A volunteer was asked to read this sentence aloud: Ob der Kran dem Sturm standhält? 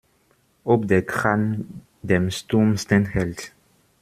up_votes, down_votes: 1, 2